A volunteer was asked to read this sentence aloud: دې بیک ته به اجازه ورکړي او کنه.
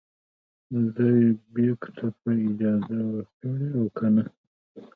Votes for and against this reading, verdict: 2, 0, accepted